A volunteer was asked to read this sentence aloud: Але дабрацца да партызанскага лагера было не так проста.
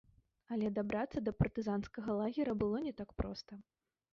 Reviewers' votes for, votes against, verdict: 2, 0, accepted